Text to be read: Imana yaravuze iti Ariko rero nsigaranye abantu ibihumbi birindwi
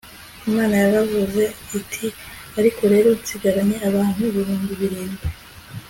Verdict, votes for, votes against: accepted, 3, 0